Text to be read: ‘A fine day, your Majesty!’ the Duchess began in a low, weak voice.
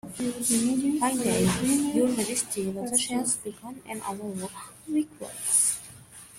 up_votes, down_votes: 0, 2